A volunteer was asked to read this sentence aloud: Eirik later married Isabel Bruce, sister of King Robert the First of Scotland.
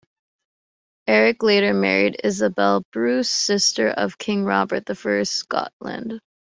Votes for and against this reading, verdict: 1, 2, rejected